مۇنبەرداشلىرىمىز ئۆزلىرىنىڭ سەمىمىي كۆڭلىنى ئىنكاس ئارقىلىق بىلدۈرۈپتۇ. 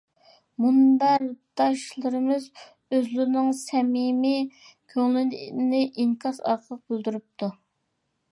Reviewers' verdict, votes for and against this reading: rejected, 0, 2